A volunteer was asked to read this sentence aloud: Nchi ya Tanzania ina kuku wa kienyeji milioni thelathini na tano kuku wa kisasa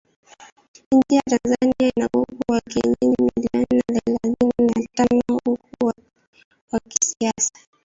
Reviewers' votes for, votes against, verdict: 0, 2, rejected